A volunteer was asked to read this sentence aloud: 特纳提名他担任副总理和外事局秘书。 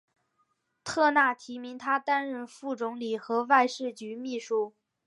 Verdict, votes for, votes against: accepted, 2, 0